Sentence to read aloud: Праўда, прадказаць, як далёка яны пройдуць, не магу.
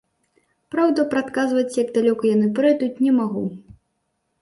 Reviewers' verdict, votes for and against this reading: rejected, 0, 2